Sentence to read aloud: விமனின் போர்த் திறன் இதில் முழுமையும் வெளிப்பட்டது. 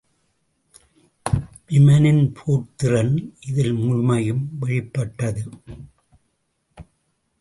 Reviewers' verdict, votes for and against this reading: rejected, 1, 2